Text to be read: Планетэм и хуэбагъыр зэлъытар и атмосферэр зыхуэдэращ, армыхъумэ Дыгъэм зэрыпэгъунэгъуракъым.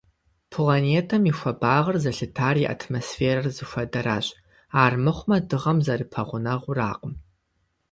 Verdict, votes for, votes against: accepted, 2, 0